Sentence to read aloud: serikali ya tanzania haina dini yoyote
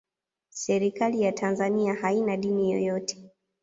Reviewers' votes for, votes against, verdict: 2, 0, accepted